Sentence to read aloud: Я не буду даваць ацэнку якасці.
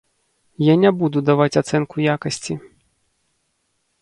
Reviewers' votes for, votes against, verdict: 2, 0, accepted